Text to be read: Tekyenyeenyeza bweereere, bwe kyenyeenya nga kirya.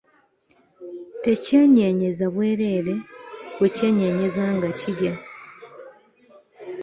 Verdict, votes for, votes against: accepted, 2, 0